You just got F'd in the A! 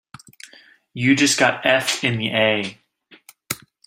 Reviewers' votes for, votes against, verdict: 1, 2, rejected